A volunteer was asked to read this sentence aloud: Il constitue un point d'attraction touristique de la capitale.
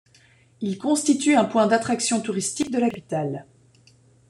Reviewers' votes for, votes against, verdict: 1, 2, rejected